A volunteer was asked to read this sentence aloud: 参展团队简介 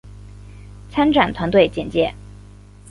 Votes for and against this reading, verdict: 2, 0, accepted